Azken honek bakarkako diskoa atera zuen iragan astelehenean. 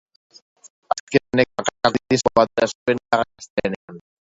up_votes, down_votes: 0, 2